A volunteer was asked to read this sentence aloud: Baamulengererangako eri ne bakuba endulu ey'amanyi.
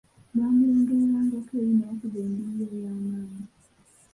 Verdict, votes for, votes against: rejected, 0, 2